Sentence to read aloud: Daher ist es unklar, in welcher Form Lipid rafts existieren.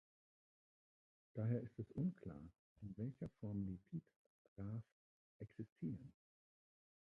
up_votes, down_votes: 0, 2